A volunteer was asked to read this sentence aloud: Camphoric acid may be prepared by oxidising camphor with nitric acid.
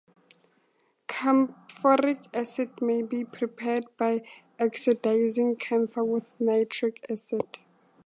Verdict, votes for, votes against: accepted, 2, 0